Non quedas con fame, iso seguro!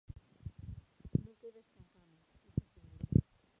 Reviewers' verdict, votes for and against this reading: rejected, 0, 2